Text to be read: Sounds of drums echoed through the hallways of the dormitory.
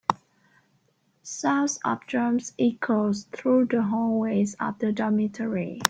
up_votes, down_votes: 2, 1